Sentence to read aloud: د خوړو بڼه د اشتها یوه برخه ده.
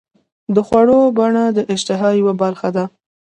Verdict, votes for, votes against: accepted, 2, 0